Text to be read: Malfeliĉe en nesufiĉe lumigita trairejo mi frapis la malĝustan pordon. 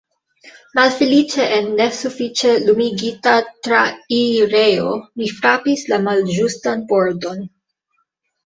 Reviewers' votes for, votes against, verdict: 0, 2, rejected